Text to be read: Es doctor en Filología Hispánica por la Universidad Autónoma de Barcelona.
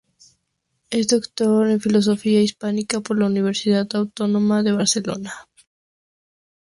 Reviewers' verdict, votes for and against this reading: rejected, 0, 4